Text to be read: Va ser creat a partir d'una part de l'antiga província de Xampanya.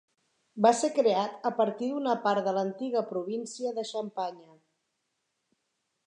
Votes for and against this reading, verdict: 4, 0, accepted